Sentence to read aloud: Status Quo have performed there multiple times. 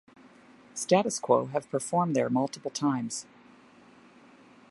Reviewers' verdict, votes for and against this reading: accepted, 2, 0